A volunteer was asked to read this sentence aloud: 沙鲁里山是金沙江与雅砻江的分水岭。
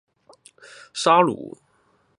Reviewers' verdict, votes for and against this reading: rejected, 1, 3